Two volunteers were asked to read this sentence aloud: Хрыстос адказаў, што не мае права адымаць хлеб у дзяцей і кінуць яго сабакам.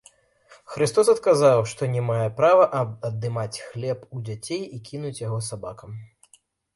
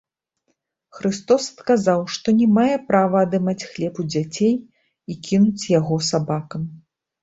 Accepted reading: second